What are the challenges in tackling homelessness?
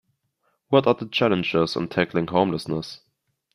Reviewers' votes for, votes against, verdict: 2, 0, accepted